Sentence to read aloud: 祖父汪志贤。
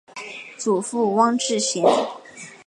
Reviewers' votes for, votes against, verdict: 2, 0, accepted